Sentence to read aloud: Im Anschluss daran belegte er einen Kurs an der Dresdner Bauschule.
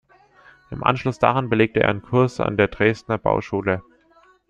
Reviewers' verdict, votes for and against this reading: accepted, 2, 0